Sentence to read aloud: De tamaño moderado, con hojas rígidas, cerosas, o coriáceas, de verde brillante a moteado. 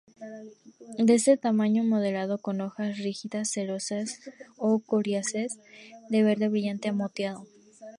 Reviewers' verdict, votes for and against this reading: rejected, 0, 2